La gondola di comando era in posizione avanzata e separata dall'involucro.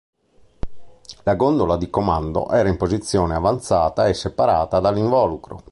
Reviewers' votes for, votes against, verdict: 3, 0, accepted